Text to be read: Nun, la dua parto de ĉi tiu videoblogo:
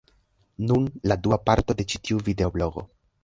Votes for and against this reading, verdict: 2, 0, accepted